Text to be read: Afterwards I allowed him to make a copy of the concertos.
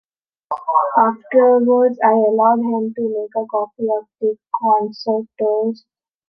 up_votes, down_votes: 1, 3